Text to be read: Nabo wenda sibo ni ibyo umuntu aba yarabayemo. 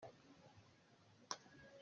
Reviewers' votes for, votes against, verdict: 0, 2, rejected